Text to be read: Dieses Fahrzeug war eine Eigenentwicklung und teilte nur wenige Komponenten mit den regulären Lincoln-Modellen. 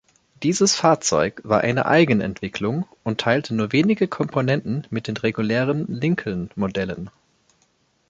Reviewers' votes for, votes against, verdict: 3, 0, accepted